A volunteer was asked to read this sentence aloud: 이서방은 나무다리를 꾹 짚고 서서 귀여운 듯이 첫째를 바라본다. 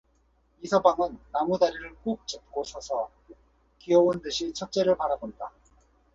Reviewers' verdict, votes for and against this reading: accepted, 4, 0